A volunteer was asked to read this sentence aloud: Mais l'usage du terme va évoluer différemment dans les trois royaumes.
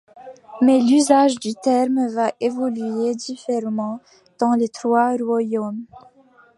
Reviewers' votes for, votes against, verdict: 1, 2, rejected